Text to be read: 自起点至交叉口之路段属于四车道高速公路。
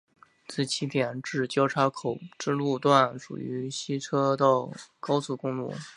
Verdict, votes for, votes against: accepted, 2, 0